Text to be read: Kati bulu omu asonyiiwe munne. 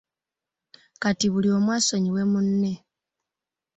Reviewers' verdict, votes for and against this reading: accepted, 2, 0